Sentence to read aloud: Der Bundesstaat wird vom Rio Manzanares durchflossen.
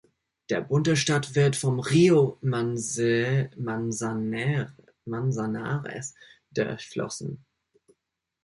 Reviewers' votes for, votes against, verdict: 0, 2, rejected